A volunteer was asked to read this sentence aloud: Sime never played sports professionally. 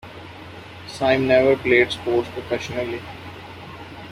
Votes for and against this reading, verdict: 2, 0, accepted